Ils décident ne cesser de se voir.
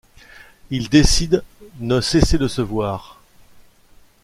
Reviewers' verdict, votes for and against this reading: rejected, 1, 2